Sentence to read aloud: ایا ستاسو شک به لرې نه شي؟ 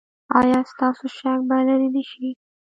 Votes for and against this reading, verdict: 2, 1, accepted